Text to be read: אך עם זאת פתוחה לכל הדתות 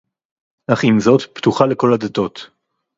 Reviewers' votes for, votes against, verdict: 2, 2, rejected